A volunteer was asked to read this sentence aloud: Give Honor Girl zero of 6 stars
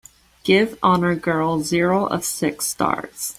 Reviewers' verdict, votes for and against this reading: rejected, 0, 2